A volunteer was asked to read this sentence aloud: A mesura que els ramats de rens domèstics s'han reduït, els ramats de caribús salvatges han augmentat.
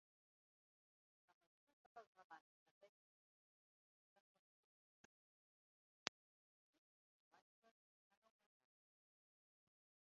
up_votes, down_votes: 0, 2